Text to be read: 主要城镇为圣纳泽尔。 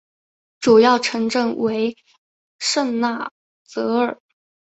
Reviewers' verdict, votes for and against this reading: accepted, 2, 0